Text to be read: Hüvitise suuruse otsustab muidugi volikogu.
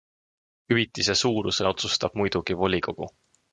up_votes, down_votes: 2, 0